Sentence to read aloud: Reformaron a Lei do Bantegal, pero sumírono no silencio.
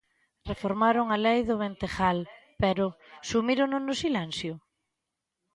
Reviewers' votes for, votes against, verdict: 2, 5, rejected